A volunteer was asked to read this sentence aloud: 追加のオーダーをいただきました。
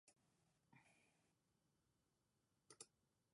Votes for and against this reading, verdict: 1, 3, rejected